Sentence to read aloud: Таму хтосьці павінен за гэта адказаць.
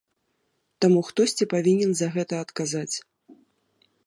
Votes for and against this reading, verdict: 2, 0, accepted